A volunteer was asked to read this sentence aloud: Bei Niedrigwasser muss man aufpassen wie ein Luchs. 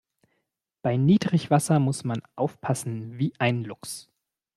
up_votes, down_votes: 2, 0